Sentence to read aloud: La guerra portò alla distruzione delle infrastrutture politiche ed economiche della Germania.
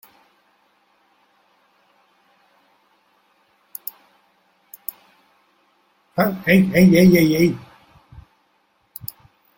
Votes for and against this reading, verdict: 0, 3, rejected